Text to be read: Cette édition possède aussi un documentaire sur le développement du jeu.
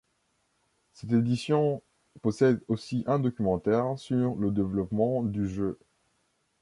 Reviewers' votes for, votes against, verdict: 1, 2, rejected